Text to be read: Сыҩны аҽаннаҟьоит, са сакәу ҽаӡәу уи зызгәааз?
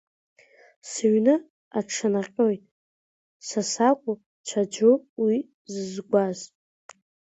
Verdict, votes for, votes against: accepted, 2, 1